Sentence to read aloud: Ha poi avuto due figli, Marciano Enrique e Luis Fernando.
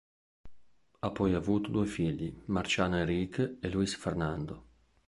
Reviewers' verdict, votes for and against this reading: rejected, 0, 2